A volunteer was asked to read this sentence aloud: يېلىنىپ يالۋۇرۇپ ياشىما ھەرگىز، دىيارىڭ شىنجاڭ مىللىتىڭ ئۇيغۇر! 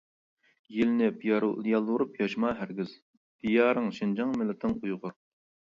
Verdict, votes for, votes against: rejected, 1, 2